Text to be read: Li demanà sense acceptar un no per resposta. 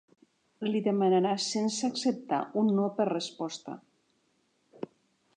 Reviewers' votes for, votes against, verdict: 0, 2, rejected